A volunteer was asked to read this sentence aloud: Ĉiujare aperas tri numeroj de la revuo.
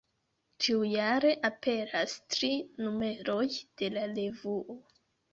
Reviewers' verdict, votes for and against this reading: rejected, 0, 2